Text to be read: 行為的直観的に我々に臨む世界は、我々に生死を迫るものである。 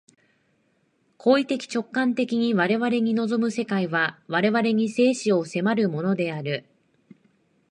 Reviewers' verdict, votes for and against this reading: accepted, 2, 0